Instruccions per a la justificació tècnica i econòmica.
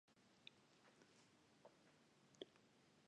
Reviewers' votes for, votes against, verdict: 0, 2, rejected